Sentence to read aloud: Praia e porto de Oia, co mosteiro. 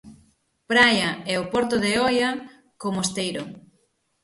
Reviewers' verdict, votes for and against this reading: rejected, 0, 6